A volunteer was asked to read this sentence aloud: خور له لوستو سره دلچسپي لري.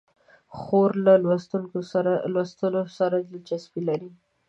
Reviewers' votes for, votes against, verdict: 0, 2, rejected